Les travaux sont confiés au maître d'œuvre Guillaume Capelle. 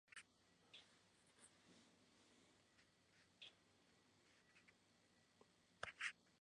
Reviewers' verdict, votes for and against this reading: rejected, 0, 2